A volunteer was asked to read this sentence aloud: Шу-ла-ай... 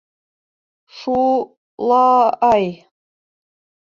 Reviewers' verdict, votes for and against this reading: rejected, 0, 2